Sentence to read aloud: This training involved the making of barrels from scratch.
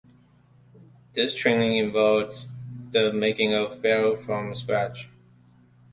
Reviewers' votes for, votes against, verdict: 2, 1, accepted